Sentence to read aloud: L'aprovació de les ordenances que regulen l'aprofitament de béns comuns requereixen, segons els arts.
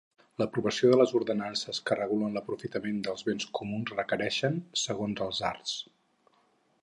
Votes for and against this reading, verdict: 2, 4, rejected